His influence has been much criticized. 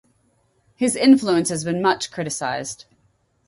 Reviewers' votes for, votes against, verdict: 4, 0, accepted